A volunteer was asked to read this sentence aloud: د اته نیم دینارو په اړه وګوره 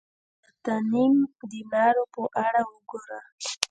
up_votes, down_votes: 1, 2